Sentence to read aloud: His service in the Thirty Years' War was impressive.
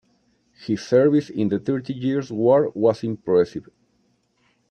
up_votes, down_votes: 0, 2